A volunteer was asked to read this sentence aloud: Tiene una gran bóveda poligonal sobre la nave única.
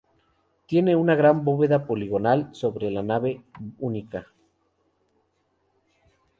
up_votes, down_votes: 0, 2